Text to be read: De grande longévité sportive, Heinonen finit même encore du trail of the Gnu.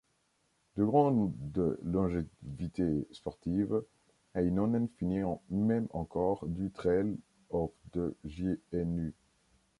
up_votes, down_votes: 0, 3